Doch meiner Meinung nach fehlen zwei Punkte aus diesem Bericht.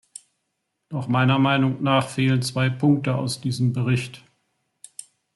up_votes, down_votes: 1, 2